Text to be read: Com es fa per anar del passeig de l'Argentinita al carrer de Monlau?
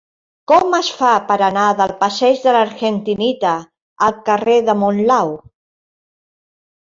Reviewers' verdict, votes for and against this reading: rejected, 0, 2